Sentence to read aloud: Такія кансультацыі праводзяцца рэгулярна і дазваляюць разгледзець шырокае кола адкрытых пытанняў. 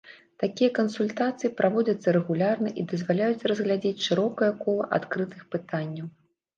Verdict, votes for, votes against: rejected, 1, 2